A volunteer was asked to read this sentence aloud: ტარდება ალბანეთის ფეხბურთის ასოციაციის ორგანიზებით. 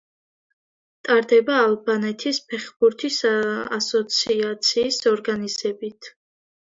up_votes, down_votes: 2, 0